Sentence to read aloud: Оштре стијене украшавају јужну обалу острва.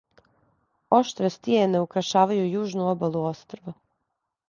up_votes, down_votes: 2, 0